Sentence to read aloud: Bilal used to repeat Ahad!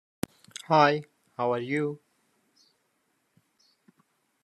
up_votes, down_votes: 0, 2